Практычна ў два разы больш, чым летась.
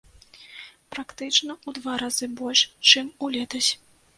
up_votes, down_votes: 0, 2